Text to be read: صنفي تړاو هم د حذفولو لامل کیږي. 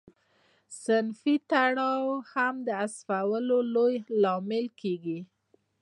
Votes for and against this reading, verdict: 2, 0, accepted